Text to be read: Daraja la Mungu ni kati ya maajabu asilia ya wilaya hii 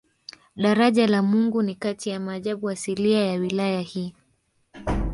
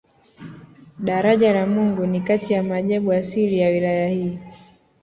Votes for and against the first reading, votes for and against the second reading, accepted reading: 0, 3, 2, 0, second